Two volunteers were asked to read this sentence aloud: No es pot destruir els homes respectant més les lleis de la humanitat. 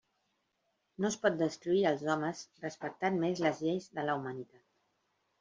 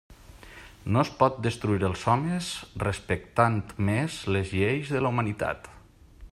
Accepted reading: second